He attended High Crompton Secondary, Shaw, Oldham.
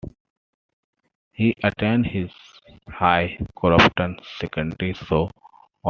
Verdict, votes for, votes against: rejected, 0, 2